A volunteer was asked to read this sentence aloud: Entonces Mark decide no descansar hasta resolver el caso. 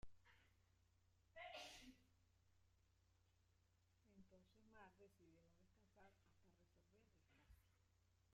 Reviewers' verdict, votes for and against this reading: rejected, 0, 2